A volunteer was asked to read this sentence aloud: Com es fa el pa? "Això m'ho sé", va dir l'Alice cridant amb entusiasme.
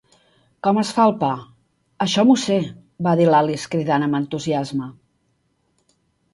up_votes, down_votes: 8, 0